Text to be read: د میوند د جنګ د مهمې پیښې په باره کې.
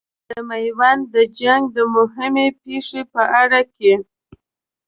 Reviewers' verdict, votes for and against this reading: rejected, 1, 2